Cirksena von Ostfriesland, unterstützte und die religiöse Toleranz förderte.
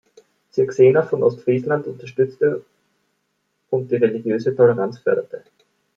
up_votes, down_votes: 2, 0